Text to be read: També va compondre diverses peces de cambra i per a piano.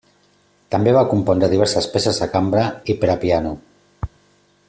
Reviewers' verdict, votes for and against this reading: accepted, 2, 0